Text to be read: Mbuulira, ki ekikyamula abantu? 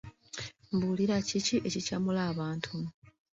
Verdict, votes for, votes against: accepted, 2, 0